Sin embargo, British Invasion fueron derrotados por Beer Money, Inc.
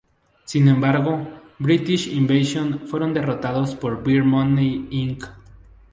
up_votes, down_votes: 0, 2